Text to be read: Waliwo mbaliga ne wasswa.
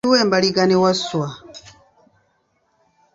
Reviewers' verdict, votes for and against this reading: rejected, 1, 2